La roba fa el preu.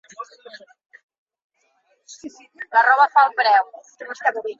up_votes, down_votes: 1, 2